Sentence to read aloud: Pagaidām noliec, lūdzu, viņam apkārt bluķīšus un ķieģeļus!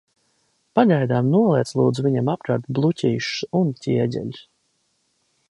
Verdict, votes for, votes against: accepted, 2, 0